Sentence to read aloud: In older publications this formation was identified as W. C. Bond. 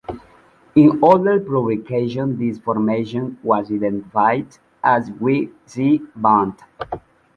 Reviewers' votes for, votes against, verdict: 0, 2, rejected